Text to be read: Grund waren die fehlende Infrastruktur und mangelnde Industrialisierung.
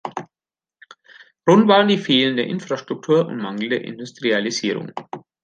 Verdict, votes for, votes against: rejected, 1, 2